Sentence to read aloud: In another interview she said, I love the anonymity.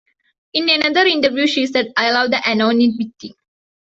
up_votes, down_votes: 2, 0